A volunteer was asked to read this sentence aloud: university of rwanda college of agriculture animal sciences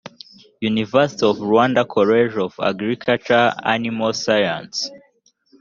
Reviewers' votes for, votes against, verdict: 1, 2, rejected